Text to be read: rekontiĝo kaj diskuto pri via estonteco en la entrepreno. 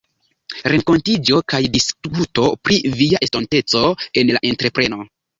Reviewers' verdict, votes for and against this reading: rejected, 1, 2